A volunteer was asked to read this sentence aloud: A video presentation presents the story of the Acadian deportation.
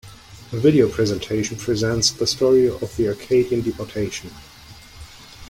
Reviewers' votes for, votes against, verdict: 2, 0, accepted